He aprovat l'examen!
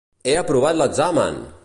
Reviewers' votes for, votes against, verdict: 2, 0, accepted